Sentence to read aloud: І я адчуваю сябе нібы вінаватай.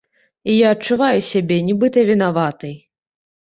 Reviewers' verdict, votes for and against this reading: rejected, 1, 2